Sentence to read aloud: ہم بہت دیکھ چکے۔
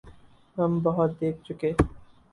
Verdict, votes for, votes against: rejected, 0, 2